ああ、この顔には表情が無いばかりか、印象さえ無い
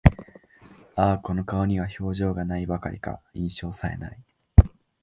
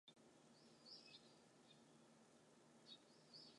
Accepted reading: first